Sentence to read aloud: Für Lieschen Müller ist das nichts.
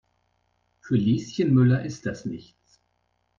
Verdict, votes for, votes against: accepted, 2, 0